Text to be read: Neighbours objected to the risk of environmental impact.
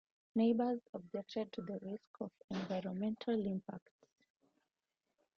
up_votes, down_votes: 2, 0